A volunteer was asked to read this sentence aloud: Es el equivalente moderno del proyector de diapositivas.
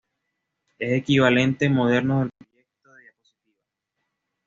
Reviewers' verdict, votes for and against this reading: rejected, 1, 2